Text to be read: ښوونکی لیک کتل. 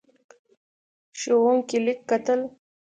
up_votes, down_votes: 2, 0